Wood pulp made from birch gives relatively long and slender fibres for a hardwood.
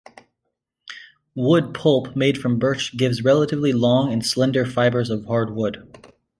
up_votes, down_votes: 1, 3